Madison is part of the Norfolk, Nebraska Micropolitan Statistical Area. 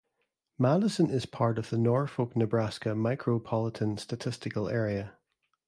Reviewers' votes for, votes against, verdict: 2, 0, accepted